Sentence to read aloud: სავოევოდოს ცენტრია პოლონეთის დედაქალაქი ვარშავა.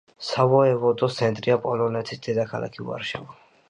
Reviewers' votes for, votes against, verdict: 2, 0, accepted